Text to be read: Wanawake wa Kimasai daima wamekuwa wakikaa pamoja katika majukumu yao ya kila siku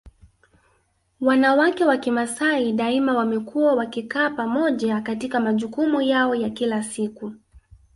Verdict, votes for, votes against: rejected, 1, 2